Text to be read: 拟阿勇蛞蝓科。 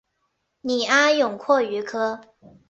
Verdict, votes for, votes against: rejected, 0, 2